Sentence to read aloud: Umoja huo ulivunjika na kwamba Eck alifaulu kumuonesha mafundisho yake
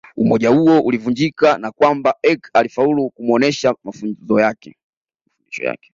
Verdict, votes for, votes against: rejected, 1, 2